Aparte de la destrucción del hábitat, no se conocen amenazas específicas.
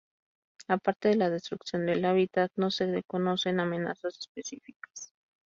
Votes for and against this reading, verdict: 0, 2, rejected